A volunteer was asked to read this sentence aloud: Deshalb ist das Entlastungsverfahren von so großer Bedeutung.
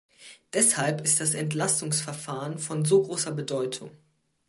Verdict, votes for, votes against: accepted, 2, 0